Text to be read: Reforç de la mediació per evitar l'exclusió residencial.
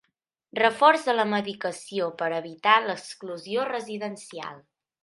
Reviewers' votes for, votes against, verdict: 2, 1, accepted